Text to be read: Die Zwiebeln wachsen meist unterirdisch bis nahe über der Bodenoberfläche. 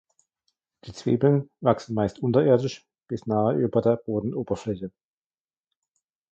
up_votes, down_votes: 2, 1